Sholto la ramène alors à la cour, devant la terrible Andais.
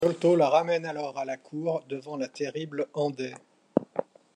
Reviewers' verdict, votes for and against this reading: rejected, 0, 2